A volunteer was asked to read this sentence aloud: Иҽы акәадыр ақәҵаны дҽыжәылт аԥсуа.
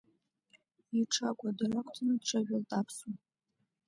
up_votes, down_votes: 3, 0